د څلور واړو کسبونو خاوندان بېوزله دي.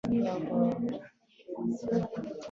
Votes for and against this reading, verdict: 2, 0, accepted